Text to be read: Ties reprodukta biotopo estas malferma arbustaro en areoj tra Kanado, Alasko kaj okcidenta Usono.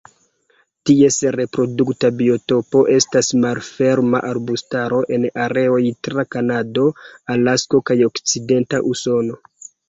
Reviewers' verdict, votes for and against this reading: accepted, 2, 1